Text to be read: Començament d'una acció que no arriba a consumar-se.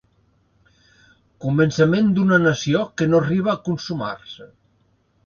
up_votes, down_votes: 0, 2